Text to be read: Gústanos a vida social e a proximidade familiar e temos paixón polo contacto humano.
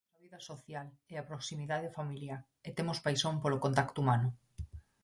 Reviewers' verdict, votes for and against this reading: rejected, 0, 4